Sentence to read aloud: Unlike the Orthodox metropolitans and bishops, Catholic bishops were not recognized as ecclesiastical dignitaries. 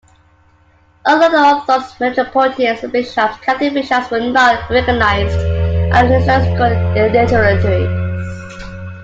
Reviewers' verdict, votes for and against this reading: rejected, 0, 2